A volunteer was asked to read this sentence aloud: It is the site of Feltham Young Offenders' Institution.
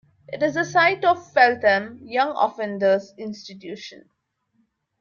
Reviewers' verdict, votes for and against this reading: accepted, 3, 0